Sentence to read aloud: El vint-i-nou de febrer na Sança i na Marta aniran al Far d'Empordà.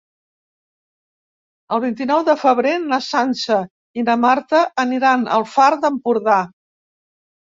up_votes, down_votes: 3, 0